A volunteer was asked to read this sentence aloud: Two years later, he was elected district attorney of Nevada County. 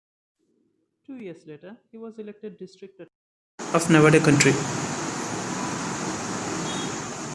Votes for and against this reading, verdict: 0, 2, rejected